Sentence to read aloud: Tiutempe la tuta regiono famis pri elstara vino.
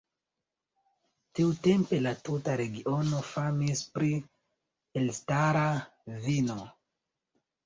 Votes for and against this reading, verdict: 2, 0, accepted